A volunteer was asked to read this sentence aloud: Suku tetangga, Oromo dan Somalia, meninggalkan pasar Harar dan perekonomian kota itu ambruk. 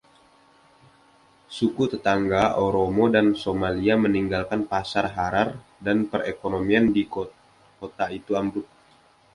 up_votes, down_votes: 1, 2